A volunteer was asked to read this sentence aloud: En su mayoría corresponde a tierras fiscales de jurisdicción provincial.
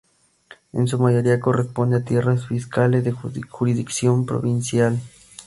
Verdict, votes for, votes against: rejected, 0, 2